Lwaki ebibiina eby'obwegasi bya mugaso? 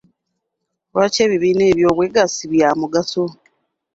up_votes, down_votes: 2, 0